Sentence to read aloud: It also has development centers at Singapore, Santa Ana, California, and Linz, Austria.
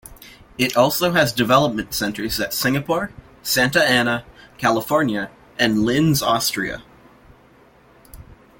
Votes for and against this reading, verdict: 2, 0, accepted